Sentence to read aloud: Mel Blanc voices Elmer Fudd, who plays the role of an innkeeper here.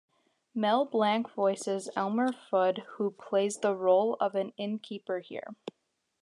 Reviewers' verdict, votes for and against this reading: accepted, 2, 1